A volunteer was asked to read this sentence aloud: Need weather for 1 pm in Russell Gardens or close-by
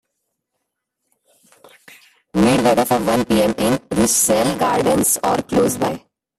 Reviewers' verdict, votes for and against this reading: rejected, 0, 2